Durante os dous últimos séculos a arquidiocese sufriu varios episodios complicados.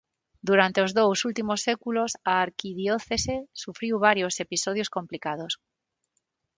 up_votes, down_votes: 6, 0